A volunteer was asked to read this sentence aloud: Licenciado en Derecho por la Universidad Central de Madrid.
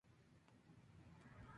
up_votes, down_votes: 0, 2